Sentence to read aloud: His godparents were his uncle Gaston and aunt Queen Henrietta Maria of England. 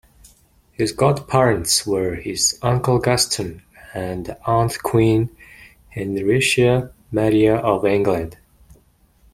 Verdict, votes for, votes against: accepted, 2, 1